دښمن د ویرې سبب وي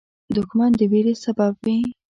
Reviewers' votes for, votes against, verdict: 2, 0, accepted